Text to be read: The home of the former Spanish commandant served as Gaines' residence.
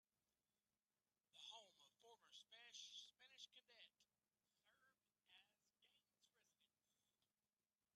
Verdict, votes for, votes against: rejected, 0, 2